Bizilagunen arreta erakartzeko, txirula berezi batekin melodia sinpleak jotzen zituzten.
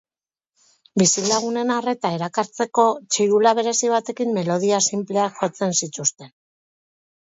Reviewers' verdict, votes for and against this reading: accepted, 6, 0